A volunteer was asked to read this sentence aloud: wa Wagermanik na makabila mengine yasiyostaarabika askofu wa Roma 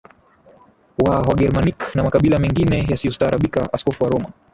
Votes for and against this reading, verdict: 1, 2, rejected